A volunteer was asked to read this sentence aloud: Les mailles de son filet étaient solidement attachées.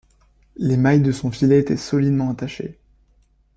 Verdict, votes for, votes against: rejected, 1, 2